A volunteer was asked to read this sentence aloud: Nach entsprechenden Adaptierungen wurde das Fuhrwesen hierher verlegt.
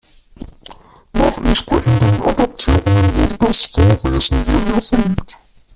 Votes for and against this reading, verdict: 1, 2, rejected